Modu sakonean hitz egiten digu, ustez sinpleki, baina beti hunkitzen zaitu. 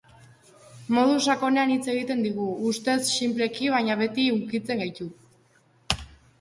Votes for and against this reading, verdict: 1, 3, rejected